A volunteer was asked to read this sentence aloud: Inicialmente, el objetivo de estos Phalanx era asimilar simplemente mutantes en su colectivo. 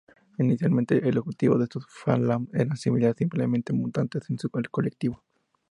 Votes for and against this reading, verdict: 2, 0, accepted